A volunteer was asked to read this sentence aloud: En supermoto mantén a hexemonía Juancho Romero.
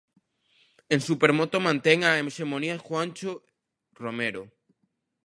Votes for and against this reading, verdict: 1, 2, rejected